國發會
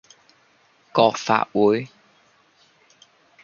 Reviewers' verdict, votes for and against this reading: rejected, 0, 2